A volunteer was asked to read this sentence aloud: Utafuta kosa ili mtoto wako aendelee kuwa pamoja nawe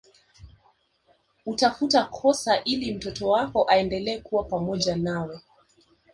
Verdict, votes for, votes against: accepted, 3, 0